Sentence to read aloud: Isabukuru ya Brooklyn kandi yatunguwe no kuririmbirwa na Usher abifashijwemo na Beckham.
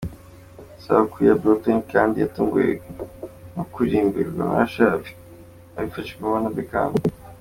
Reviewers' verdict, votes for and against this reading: accepted, 2, 0